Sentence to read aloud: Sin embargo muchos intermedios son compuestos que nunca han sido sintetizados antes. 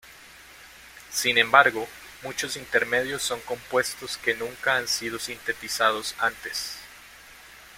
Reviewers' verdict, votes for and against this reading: accepted, 2, 0